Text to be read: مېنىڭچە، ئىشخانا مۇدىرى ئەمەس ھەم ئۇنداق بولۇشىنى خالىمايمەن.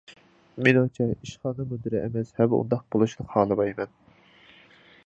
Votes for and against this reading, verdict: 2, 0, accepted